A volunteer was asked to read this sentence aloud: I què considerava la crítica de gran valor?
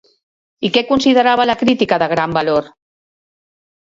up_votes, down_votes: 3, 0